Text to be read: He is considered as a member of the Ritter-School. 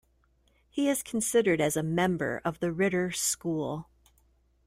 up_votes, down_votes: 2, 0